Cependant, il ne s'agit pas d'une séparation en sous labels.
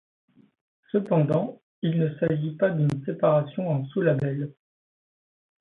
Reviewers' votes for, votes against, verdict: 1, 2, rejected